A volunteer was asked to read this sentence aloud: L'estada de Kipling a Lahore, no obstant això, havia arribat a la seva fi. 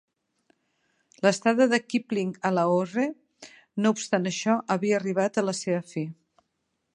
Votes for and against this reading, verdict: 2, 0, accepted